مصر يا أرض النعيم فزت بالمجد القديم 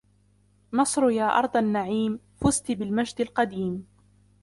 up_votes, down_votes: 0, 2